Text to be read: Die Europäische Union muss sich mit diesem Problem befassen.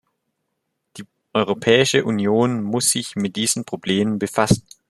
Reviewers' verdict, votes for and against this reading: accepted, 3, 1